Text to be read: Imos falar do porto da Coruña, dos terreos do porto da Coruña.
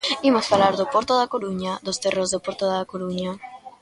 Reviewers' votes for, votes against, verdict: 1, 2, rejected